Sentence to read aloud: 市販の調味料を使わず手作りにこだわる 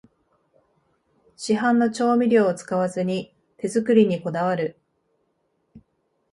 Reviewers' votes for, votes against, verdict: 0, 2, rejected